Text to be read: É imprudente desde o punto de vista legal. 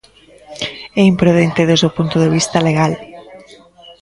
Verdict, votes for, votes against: rejected, 0, 2